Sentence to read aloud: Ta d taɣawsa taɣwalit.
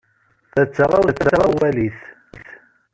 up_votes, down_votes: 0, 2